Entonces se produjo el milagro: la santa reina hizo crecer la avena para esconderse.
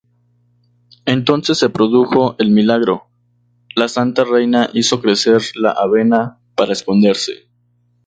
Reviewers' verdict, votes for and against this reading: accepted, 2, 0